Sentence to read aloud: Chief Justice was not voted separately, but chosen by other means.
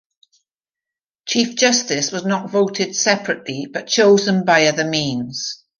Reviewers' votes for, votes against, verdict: 2, 0, accepted